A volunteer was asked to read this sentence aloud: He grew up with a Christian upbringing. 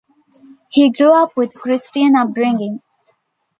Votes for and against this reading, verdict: 1, 2, rejected